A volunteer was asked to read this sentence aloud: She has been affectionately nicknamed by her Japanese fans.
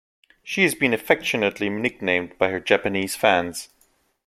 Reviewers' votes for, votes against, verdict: 2, 0, accepted